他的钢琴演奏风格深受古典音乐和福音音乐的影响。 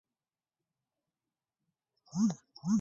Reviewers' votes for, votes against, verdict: 0, 5, rejected